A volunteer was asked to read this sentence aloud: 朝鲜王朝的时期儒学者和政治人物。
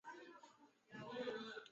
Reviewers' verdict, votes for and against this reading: rejected, 1, 4